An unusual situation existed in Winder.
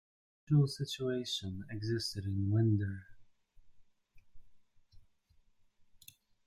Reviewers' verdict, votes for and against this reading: rejected, 1, 2